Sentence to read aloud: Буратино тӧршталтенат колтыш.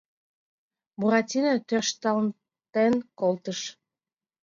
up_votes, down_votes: 2, 0